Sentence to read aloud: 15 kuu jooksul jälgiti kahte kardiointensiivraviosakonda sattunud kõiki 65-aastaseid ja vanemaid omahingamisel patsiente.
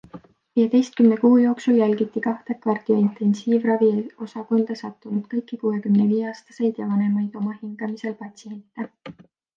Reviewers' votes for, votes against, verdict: 0, 2, rejected